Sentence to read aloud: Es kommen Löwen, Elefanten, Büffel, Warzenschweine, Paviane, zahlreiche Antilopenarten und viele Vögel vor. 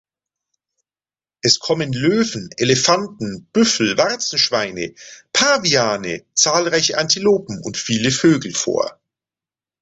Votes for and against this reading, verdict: 0, 2, rejected